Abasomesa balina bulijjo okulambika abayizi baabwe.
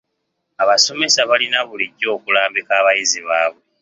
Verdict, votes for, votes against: accepted, 2, 0